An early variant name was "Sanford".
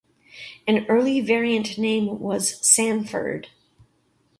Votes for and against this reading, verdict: 2, 0, accepted